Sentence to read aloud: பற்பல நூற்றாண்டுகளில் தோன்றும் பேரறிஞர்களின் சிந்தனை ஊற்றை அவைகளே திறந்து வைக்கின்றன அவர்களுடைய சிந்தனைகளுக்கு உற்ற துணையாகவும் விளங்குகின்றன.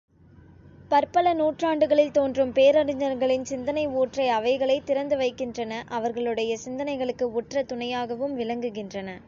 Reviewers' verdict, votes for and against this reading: accepted, 2, 0